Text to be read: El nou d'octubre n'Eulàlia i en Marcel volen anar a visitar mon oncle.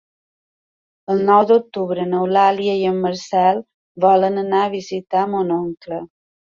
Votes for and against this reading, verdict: 3, 0, accepted